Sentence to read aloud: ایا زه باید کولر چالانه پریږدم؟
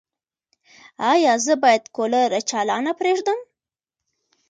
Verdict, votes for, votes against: accepted, 2, 1